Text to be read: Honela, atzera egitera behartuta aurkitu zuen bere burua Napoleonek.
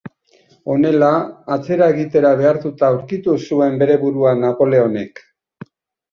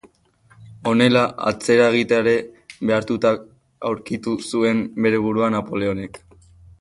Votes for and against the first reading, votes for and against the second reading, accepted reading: 2, 0, 2, 3, first